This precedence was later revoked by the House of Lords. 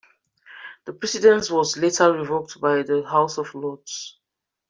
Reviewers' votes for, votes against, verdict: 0, 2, rejected